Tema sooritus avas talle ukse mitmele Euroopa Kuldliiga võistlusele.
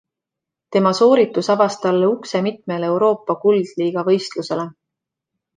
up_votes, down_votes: 2, 0